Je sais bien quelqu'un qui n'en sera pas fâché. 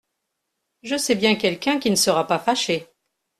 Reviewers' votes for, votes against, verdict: 1, 2, rejected